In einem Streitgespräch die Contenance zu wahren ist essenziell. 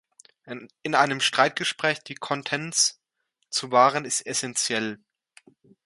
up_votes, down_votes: 0, 2